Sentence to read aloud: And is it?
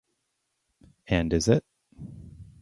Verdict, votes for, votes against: rejected, 2, 2